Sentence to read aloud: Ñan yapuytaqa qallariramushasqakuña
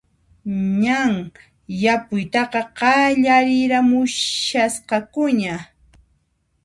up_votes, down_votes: 2, 1